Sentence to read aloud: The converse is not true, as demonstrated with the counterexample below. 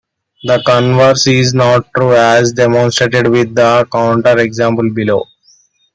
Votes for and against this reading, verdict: 2, 0, accepted